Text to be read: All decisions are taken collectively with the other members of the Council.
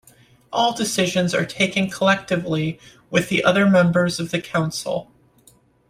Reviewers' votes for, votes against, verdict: 2, 0, accepted